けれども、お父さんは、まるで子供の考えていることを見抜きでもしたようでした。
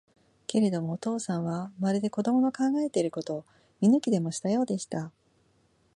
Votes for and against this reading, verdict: 3, 0, accepted